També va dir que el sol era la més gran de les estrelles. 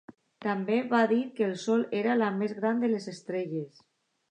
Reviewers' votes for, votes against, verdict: 2, 0, accepted